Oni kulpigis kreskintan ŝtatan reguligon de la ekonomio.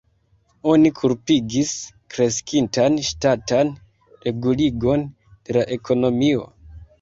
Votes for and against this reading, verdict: 0, 2, rejected